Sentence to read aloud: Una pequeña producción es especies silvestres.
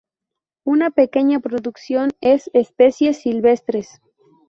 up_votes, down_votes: 0, 2